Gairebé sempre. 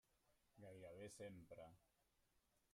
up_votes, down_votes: 0, 2